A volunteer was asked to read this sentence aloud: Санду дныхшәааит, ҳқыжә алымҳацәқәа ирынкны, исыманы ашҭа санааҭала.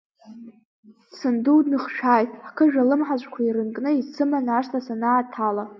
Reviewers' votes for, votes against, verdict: 2, 0, accepted